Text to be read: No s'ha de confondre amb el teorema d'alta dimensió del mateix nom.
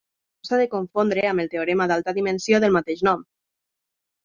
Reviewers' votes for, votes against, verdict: 0, 2, rejected